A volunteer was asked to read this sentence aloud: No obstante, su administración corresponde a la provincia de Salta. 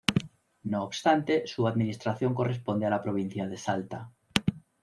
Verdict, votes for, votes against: accepted, 2, 0